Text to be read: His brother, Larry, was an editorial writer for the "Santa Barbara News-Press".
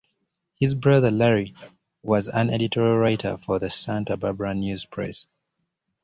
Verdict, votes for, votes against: accepted, 2, 0